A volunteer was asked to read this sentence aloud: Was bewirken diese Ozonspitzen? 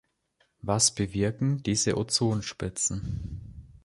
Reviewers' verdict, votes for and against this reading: accepted, 2, 0